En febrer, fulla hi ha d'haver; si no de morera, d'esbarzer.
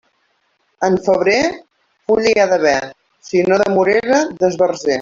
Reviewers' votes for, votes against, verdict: 1, 2, rejected